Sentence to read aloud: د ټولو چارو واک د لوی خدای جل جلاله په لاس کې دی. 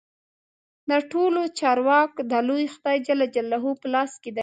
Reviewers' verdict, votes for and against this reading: accepted, 2, 0